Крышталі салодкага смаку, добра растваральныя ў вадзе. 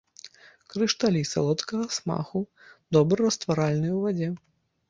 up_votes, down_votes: 1, 2